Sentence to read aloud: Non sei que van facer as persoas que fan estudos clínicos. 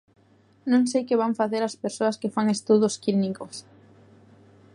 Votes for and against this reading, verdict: 1, 2, rejected